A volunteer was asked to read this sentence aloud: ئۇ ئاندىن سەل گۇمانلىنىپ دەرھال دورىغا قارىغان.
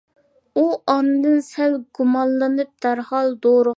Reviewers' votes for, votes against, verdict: 0, 2, rejected